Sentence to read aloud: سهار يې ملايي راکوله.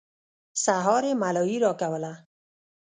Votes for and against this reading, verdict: 1, 2, rejected